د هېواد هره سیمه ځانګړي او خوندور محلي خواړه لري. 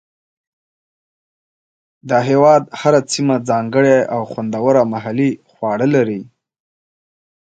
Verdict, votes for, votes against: accepted, 2, 0